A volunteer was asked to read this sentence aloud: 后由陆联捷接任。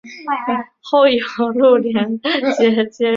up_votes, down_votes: 0, 2